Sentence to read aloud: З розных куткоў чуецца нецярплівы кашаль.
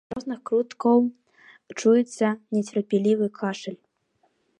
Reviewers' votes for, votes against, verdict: 0, 2, rejected